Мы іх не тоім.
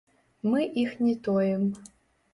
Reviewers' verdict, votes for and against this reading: rejected, 1, 3